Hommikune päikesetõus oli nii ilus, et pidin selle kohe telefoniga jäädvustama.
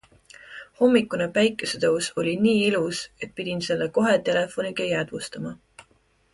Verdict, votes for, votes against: accepted, 2, 0